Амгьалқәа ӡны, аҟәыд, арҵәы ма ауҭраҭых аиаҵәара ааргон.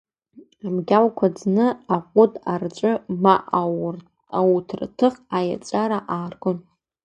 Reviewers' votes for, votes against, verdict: 1, 2, rejected